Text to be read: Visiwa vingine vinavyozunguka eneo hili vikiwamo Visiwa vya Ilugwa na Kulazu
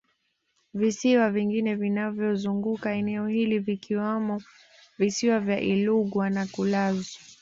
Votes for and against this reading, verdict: 2, 0, accepted